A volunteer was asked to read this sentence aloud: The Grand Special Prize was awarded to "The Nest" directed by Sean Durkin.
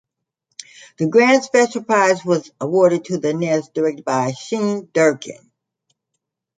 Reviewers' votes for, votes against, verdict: 0, 2, rejected